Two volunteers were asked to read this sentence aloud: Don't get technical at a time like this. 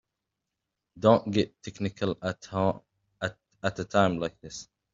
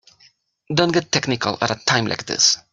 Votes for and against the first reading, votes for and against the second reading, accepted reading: 0, 2, 3, 0, second